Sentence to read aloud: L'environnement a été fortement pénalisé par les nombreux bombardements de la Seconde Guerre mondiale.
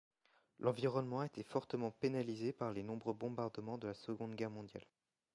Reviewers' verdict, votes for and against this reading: accepted, 2, 0